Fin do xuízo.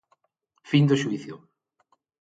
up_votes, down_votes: 0, 6